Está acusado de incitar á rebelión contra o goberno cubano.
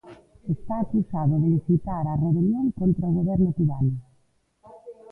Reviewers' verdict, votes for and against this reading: accepted, 2, 0